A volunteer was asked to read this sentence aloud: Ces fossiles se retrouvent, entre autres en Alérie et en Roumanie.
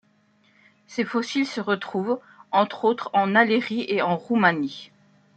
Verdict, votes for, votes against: accepted, 2, 0